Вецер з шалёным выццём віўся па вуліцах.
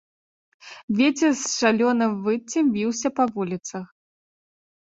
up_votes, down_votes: 0, 2